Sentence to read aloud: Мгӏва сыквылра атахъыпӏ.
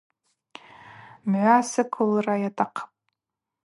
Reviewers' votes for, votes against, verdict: 2, 4, rejected